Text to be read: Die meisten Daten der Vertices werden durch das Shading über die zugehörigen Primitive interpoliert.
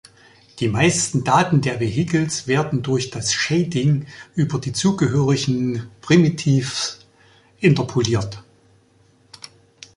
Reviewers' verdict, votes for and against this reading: rejected, 0, 2